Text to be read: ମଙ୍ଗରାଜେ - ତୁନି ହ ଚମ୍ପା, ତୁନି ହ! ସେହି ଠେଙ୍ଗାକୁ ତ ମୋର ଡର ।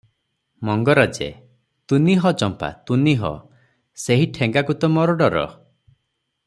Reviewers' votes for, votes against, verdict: 6, 0, accepted